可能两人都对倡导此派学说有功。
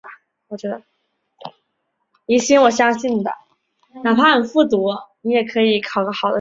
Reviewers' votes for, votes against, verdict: 0, 4, rejected